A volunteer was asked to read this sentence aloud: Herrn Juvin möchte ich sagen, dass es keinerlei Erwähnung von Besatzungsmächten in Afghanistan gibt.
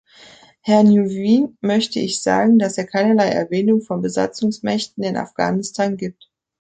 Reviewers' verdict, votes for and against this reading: rejected, 0, 3